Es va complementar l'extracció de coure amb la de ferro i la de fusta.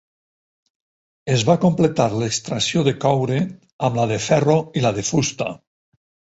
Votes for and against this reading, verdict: 0, 4, rejected